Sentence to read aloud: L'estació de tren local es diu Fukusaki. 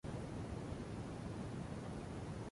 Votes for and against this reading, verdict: 0, 2, rejected